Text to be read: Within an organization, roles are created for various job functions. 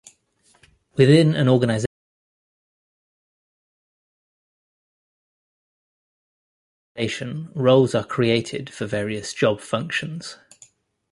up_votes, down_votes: 0, 2